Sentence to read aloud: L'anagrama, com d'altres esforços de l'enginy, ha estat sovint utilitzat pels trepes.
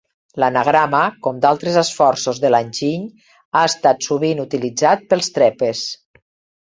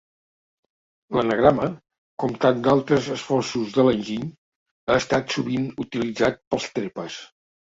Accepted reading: first